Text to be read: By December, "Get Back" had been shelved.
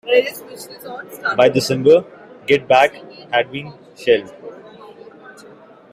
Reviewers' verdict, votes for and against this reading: accepted, 2, 0